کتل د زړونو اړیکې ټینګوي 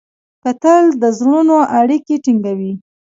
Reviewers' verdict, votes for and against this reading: rejected, 0, 3